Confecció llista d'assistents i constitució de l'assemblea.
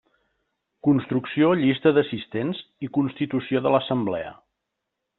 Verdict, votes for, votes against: rejected, 1, 2